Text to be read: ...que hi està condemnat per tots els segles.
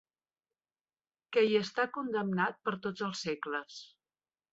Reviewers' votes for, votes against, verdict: 3, 0, accepted